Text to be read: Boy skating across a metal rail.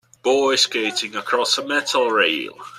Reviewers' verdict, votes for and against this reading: accepted, 2, 0